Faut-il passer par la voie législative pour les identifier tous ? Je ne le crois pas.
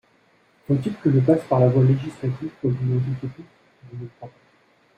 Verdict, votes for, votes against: rejected, 1, 2